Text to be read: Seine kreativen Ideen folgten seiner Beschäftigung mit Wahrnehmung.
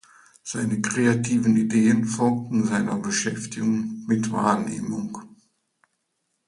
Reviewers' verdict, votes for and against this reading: accepted, 2, 0